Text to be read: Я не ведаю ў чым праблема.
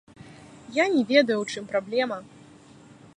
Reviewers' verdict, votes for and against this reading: accepted, 2, 1